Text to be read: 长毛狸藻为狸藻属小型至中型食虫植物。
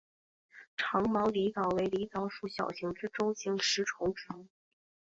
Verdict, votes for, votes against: accepted, 2, 0